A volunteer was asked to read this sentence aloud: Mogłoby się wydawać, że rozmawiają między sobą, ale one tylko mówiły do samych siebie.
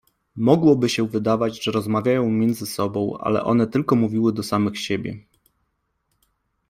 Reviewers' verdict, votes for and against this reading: accepted, 2, 0